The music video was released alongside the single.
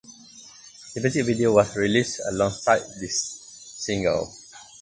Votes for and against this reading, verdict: 2, 0, accepted